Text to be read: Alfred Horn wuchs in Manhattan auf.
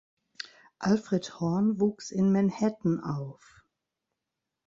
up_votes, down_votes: 2, 1